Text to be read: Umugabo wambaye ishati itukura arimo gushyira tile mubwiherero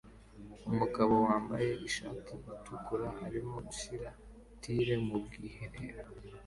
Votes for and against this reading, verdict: 2, 0, accepted